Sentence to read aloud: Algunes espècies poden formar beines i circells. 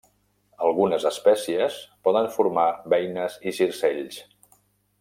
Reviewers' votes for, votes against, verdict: 2, 0, accepted